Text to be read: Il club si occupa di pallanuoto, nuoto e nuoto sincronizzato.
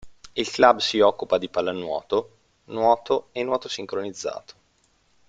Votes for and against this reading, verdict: 2, 0, accepted